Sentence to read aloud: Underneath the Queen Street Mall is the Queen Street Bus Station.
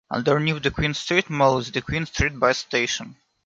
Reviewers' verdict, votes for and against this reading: accepted, 2, 0